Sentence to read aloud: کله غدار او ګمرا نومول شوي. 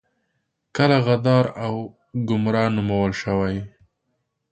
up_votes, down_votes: 2, 0